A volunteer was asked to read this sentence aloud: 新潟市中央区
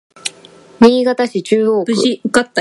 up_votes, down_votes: 0, 2